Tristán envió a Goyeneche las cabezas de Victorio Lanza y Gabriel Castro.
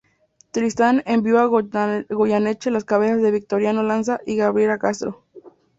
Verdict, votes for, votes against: rejected, 0, 2